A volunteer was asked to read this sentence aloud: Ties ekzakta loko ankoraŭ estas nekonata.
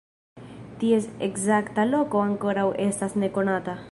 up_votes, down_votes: 2, 0